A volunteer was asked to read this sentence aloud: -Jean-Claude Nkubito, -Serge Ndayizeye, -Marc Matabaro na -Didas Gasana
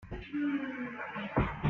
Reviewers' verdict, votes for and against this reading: rejected, 0, 2